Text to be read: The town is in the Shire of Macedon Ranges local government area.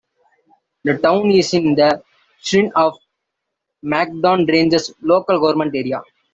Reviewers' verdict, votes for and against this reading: rejected, 0, 2